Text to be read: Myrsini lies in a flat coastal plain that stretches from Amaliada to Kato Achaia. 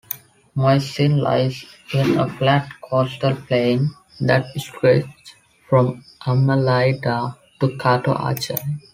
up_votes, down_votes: 0, 2